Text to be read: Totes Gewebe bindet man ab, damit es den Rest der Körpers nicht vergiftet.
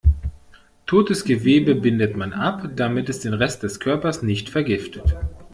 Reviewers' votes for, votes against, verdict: 1, 2, rejected